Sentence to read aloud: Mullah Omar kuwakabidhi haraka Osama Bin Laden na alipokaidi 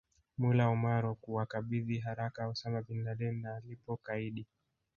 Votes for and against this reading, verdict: 1, 2, rejected